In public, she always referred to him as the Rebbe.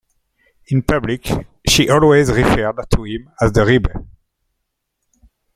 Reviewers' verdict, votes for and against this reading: rejected, 1, 2